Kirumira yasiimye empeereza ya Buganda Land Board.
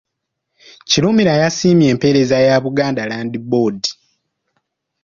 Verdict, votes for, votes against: accepted, 2, 0